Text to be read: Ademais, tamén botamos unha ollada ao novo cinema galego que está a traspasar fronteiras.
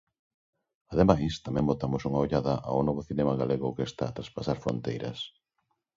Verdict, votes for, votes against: accepted, 2, 0